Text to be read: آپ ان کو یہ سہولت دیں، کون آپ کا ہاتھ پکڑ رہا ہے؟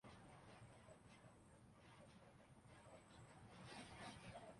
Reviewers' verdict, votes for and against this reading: rejected, 0, 3